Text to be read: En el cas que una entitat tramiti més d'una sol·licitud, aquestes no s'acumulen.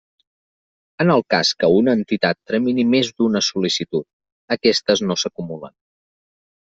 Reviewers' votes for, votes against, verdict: 2, 1, accepted